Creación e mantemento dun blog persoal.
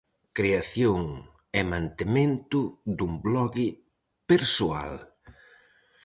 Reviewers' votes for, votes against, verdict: 0, 4, rejected